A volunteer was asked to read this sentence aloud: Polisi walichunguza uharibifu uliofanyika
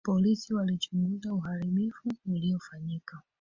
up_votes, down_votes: 2, 1